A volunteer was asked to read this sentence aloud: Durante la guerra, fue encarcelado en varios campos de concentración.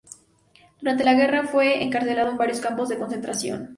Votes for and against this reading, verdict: 2, 0, accepted